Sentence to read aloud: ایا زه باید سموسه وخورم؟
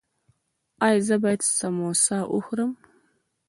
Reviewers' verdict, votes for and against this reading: accepted, 2, 0